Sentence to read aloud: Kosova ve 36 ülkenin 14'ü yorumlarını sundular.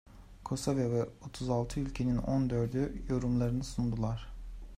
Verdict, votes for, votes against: rejected, 0, 2